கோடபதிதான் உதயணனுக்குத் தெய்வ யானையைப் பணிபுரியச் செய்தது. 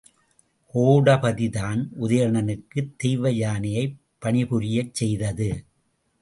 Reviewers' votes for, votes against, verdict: 2, 0, accepted